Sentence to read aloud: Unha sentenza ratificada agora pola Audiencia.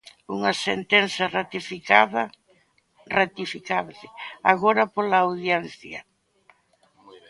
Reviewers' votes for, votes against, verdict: 0, 2, rejected